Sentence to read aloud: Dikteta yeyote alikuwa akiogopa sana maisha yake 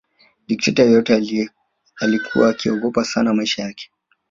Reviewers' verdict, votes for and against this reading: rejected, 1, 2